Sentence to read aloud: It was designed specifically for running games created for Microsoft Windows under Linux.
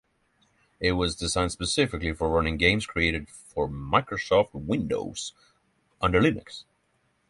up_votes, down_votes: 6, 0